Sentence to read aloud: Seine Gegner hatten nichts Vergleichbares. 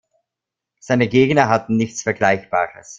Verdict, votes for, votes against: accepted, 2, 0